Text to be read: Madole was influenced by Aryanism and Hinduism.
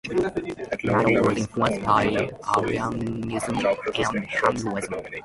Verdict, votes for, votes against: rejected, 0, 2